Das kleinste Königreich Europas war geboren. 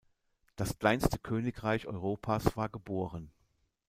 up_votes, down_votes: 0, 2